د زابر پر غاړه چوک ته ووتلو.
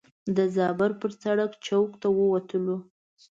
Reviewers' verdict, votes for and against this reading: rejected, 1, 2